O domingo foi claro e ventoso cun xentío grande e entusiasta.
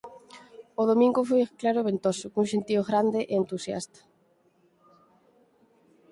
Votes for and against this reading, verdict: 6, 0, accepted